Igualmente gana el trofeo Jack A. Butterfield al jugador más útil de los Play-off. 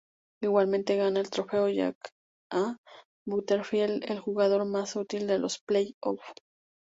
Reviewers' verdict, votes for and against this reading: accepted, 2, 0